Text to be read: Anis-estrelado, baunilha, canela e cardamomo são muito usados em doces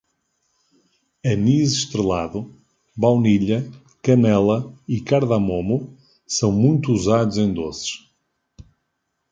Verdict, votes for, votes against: accepted, 2, 0